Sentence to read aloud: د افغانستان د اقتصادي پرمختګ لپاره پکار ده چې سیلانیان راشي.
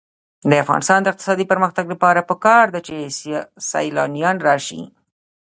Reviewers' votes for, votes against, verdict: 2, 1, accepted